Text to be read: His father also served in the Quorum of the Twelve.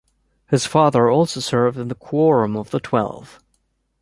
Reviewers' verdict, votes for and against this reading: accepted, 2, 0